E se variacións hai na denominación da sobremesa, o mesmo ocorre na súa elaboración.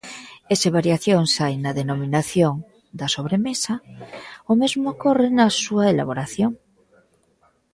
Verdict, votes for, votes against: accepted, 2, 0